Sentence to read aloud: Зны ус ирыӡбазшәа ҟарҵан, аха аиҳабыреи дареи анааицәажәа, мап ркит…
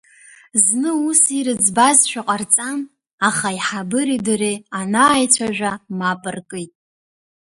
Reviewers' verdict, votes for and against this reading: accepted, 2, 0